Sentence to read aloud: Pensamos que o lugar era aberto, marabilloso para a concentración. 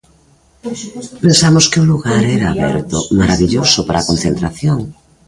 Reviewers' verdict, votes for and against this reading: rejected, 0, 2